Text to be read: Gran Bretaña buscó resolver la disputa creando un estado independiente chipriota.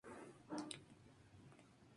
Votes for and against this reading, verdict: 0, 2, rejected